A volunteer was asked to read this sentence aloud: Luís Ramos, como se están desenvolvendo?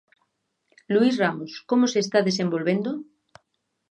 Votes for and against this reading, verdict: 0, 2, rejected